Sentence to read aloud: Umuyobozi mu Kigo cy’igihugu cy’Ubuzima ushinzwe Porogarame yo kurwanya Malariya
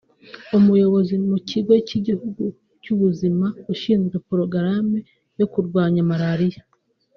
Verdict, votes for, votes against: rejected, 1, 2